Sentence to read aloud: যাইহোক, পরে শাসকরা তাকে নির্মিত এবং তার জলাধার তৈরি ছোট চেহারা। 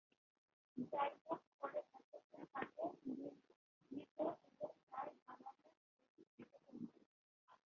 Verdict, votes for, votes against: rejected, 0, 2